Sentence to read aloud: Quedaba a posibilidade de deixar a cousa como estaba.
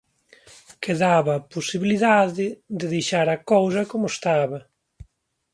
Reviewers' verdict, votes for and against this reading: accepted, 2, 0